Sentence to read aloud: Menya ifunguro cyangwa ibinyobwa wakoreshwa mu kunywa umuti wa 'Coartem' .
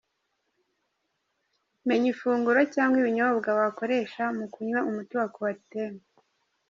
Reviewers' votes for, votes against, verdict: 1, 2, rejected